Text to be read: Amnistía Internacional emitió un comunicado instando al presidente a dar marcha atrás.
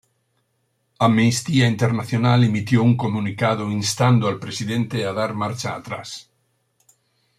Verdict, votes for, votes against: accepted, 2, 0